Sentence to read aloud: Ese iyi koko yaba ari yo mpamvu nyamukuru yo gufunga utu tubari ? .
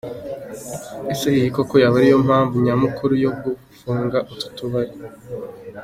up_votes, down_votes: 2, 0